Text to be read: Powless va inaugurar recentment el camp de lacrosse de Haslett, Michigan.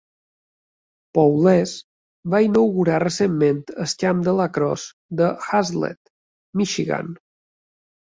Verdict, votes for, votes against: accepted, 2, 0